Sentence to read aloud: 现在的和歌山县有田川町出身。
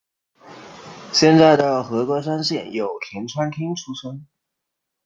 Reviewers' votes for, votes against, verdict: 2, 1, accepted